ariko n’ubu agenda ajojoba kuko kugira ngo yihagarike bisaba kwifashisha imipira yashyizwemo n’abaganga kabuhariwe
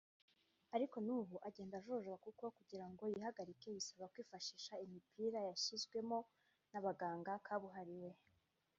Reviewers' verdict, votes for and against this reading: rejected, 1, 2